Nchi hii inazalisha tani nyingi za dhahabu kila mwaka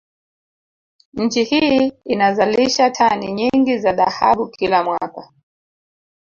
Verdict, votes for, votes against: accepted, 2, 0